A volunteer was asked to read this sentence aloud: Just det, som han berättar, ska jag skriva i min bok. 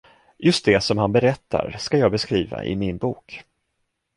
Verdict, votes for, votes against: rejected, 0, 2